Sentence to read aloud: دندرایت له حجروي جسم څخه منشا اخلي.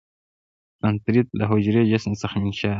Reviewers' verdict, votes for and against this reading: rejected, 1, 2